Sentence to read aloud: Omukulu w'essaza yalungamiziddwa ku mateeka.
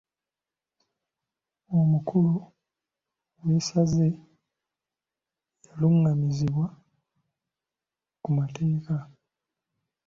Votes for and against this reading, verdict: 0, 2, rejected